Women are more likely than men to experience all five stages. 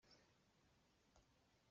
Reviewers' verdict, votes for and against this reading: rejected, 0, 2